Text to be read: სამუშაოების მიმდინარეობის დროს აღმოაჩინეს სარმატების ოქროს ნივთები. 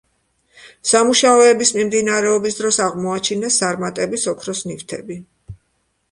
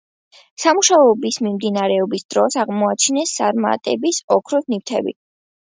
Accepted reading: first